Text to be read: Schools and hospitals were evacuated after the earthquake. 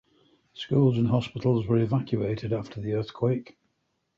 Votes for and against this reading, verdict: 2, 0, accepted